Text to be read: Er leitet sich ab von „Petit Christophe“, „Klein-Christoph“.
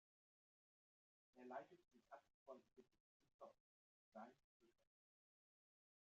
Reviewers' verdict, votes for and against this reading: rejected, 0, 2